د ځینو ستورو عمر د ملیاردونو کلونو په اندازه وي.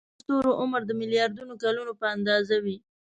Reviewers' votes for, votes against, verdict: 0, 2, rejected